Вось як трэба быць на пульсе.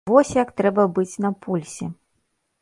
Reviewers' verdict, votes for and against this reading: accepted, 4, 0